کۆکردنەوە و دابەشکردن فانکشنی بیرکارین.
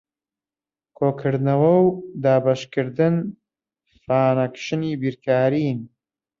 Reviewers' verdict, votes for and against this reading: rejected, 1, 2